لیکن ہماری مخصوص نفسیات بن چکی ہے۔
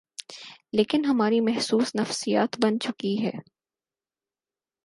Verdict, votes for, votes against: rejected, 2, 4